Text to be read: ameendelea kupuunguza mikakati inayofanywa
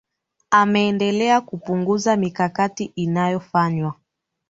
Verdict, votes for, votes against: accepted, 2, 0